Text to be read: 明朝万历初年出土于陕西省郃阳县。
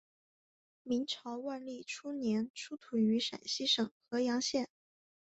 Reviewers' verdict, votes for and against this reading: accepted, 2, 0